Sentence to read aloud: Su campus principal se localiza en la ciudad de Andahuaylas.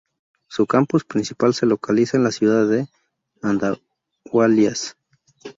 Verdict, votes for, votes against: rejected, 0, 2